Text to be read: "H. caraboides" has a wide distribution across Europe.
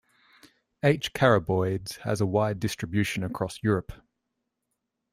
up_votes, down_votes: 2, 0